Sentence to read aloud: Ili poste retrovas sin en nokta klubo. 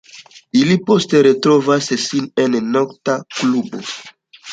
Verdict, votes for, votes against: accepted, 2, 0